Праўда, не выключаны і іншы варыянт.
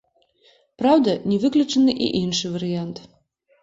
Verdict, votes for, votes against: accepted, 2, 0